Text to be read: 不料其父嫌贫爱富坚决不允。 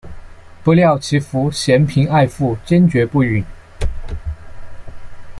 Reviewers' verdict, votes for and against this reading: accepted, 2, 1